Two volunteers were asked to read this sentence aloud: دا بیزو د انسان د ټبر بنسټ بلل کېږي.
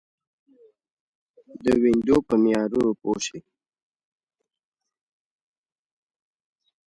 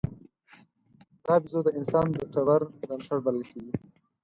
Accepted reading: second